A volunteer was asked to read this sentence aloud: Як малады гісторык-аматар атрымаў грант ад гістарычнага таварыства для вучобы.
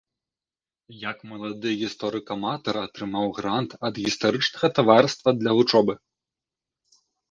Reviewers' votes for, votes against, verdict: 1, 2, rejected